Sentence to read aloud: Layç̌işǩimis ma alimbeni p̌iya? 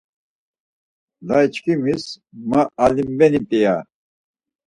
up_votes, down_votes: 2, 4